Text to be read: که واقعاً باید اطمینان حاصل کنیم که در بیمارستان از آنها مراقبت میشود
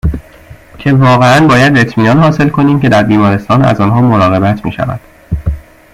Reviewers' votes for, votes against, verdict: 2, 0, accepted